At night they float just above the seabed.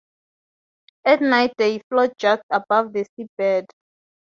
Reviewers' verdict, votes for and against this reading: accepted, 2, 0